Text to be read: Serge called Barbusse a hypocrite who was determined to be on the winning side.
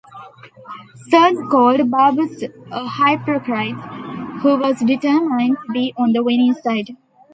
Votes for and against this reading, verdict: 0, 2, rejected